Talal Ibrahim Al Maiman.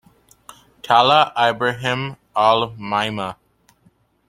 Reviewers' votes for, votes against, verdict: 1, 2, rejected